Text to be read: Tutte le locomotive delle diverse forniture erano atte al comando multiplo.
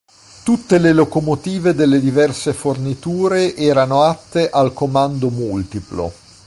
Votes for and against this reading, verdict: 2, 0, accepted